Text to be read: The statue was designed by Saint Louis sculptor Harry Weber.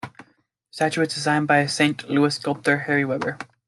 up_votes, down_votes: 1, 2